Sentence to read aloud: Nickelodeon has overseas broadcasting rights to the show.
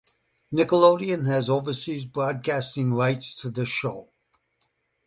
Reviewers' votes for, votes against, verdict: 2, 0, accepted